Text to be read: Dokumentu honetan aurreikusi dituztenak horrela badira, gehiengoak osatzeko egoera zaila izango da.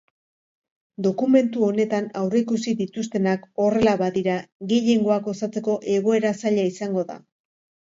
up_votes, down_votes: 2, 0